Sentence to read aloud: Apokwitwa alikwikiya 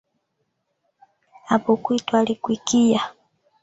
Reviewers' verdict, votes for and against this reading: rejected, 0, 2